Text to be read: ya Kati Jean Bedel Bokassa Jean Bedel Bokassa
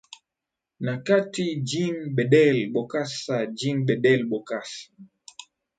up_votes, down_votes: 2, 3